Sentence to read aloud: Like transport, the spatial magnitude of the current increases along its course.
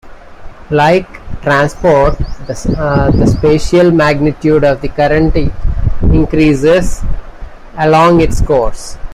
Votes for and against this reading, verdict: 1, 2, rejected